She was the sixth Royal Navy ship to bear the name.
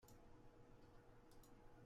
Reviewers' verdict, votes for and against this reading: rejected, 0, 2